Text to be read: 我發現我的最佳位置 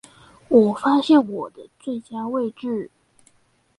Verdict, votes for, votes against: accepted, 4, 0